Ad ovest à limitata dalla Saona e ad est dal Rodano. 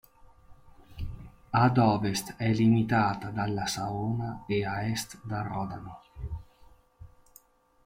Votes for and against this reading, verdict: 2, 1, accepted